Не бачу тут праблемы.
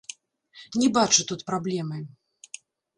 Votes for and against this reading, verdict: 0, 2, rejected